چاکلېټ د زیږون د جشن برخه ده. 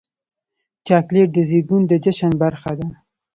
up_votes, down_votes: 2, 0